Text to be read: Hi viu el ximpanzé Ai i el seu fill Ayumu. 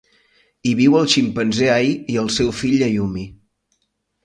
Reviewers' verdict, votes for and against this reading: rejected, 0, 2